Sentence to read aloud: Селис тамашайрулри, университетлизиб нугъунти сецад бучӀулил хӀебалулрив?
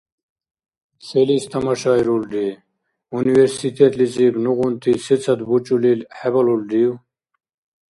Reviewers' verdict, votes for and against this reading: accepted, 2, 0